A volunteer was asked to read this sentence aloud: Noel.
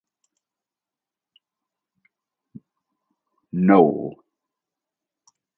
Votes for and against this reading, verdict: 0, 4, rejected